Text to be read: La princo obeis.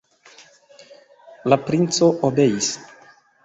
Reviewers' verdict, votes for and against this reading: accepted, 2, 0